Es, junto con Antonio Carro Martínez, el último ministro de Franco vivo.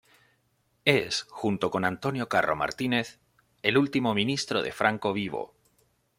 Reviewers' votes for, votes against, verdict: 2, 0, accepted